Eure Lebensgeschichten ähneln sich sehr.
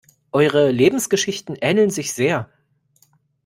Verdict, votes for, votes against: accepted, 2, 0